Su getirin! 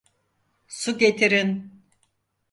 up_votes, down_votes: 4, 0